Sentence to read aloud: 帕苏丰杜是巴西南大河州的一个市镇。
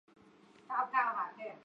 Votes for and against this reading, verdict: 0, 2, rejected